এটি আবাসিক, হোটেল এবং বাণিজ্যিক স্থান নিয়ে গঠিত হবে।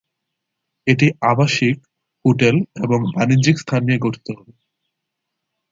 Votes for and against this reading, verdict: 0, 2, rejected